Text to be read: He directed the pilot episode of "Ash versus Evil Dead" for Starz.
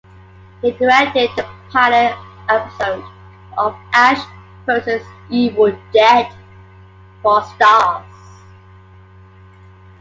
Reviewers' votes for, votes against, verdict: 2, 0, accepted